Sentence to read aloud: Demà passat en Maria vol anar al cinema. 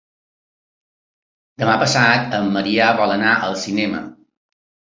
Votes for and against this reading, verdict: 2, 0, accepted